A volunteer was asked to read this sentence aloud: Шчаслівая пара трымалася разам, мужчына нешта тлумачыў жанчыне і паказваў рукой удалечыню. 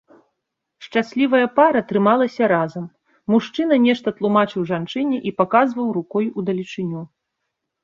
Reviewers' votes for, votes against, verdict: 2, 0, accepted